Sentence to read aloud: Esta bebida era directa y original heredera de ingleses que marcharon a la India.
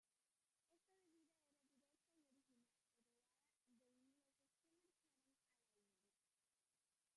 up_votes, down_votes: 0, 3